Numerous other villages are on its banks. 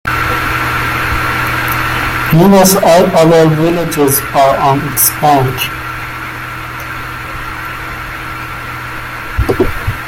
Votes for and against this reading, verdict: 1, 2, rejected